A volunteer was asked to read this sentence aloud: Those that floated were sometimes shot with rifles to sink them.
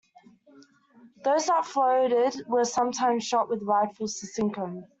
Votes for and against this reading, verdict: 0, 2, rejected